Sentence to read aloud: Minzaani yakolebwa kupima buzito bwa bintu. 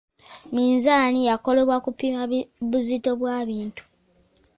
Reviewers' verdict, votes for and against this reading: rejected, 1, 2